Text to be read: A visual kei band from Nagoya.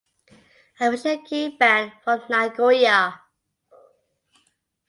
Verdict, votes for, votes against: accepted, 2, 1